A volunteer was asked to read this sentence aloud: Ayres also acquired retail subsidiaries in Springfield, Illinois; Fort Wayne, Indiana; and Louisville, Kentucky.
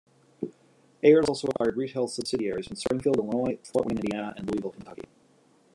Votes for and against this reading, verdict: 0, 2, rejected